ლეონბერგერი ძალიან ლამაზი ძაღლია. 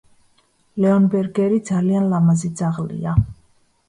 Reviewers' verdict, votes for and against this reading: accepted, 2, 0